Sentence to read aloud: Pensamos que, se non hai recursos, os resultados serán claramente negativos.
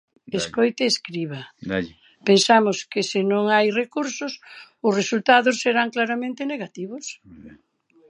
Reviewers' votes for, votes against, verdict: 0, 2, rejected